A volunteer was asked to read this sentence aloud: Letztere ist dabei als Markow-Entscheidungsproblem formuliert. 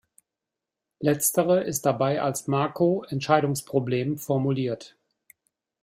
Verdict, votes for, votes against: rejected, 1, 2